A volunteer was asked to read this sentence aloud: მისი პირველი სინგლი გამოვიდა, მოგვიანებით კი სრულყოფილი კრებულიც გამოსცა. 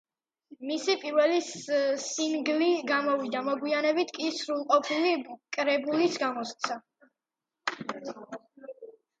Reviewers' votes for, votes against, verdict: 2, 1, accepted